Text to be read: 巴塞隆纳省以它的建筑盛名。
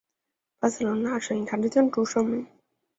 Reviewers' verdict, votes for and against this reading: rejected, 2, 3